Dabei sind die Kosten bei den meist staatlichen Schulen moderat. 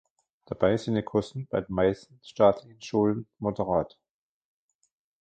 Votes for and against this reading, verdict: 0, 2, rejected